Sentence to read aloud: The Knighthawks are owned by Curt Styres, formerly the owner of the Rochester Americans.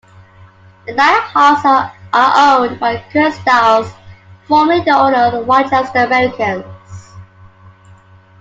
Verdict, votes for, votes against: rejected, 1, 2